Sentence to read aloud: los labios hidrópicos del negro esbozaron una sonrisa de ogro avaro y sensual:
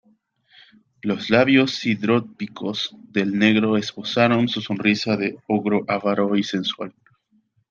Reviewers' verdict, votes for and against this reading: accepted, 2, 0